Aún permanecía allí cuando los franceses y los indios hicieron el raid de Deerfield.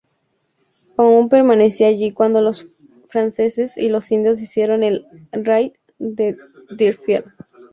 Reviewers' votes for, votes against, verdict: 0, 2, rejected